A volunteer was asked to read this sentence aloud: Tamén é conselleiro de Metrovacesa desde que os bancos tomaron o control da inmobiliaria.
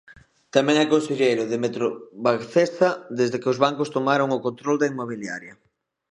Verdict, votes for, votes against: rejected, 1, 2